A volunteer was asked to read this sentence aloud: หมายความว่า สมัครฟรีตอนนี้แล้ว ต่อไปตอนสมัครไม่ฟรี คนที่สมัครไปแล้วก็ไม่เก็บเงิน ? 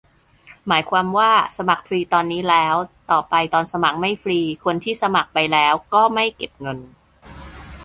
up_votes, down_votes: 2, 0